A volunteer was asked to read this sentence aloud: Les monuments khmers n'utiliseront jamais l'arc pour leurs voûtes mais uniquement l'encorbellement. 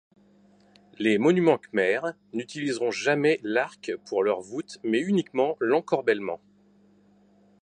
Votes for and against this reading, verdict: 2, 0, accepted